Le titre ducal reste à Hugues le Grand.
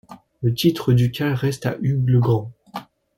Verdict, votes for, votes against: accepted, 2, 0